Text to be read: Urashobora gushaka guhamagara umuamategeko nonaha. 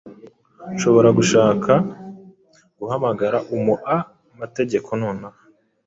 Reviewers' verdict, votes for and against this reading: accepted, 2, 1